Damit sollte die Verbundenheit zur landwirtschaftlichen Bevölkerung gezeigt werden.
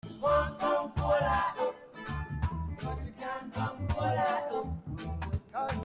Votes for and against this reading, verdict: 0, 2, rejected